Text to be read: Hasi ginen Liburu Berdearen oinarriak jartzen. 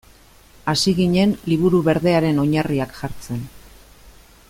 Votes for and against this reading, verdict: 2, 0, accepted